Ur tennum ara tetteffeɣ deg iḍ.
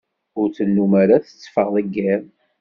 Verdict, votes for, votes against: accepted, 2, 0